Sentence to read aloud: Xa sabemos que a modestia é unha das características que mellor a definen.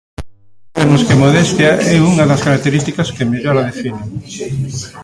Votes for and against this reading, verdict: 0, 2, rejected